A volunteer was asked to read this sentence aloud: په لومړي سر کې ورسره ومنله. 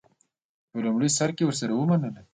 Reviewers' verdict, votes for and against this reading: accepted, 2, 0